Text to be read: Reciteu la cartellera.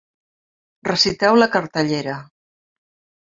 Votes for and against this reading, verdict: 2, 0, accepted